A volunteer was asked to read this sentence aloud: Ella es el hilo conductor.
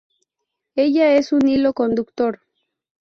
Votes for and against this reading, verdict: 0, 2, rejected